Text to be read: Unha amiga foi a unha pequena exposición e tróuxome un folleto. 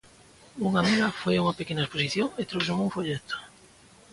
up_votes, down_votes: 2, 0